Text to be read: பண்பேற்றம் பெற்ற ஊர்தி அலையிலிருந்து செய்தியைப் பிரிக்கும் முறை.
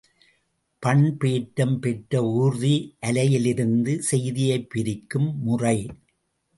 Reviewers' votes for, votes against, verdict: 2, 0, accepted